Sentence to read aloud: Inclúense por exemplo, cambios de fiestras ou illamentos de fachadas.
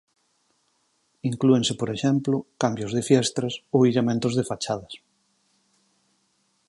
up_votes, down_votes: 4, 0